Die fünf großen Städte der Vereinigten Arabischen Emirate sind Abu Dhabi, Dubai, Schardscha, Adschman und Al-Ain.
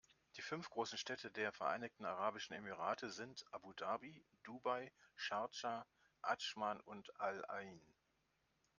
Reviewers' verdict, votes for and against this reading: accepted, 2, 0